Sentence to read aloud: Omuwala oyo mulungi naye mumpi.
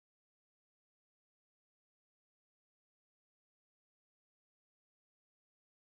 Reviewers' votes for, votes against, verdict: 1, 2, rejected